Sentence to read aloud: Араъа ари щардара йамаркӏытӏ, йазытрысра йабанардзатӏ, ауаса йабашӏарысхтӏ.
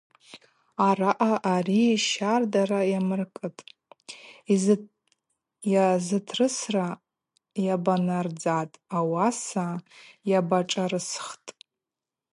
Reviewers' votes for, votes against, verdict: 0, 2, rejected